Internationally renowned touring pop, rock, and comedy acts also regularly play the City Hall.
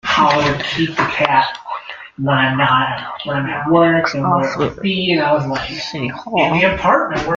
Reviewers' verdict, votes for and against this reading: rejected, 0, 2